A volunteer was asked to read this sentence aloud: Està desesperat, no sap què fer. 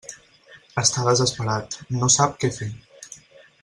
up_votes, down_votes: 4, 2